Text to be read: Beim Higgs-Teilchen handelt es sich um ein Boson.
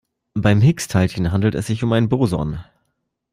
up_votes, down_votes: 2, 0